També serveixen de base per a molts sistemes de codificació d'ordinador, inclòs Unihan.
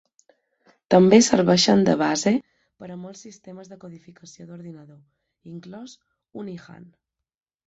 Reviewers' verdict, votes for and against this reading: rejected, 0, 2